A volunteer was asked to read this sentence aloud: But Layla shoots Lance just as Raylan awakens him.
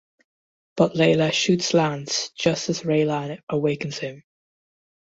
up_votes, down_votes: 2, 0